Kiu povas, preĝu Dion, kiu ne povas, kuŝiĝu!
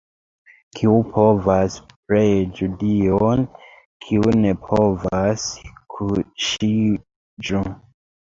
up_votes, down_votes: 2, 1